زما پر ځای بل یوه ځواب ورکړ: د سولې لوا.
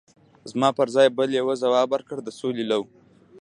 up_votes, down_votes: 2, 0